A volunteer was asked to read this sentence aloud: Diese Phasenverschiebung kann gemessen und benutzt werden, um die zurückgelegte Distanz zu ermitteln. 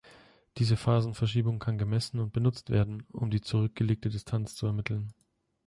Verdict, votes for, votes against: accepted, 2, 0